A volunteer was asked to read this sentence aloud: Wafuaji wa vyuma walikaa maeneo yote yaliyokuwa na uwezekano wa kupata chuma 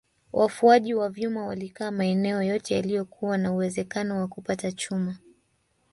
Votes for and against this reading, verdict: 0, 2, rejected